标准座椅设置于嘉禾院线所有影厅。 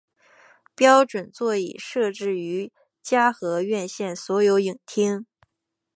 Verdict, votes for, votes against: accepted, 7, 1